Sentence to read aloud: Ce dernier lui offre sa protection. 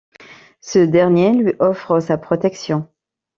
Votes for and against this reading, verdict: 2, 0, accepted